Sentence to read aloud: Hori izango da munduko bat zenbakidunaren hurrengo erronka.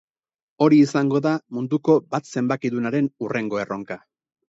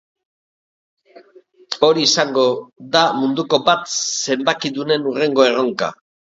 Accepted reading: first